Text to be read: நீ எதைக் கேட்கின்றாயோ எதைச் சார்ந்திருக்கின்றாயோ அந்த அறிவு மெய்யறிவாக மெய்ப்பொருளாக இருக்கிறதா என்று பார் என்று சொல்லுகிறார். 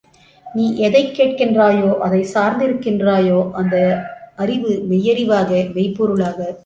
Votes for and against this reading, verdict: 0, 2, rejected